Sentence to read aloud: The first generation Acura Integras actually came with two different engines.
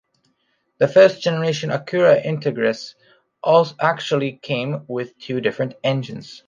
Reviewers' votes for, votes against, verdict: 1, 2, rejected